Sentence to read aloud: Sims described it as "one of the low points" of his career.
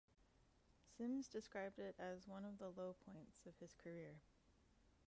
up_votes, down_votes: 2, 1